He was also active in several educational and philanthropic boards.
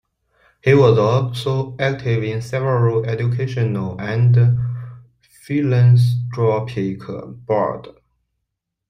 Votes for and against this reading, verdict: 2, 1, accepted